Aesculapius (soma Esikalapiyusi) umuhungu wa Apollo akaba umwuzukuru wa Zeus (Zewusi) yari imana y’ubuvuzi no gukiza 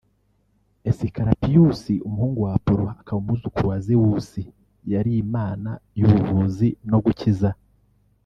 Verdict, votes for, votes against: rejected, 1, 2